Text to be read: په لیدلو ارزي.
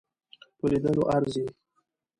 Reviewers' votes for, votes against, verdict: 2, 0, accepted